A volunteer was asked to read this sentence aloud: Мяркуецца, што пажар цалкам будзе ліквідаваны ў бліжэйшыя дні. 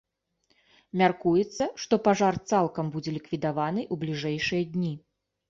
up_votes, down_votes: 2, 0